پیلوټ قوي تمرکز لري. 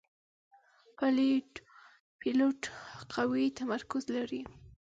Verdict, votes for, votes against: rejected, 1, 2